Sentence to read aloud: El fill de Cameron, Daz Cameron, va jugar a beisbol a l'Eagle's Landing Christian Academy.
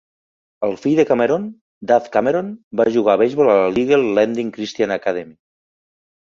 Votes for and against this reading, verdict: 1, 2, rejected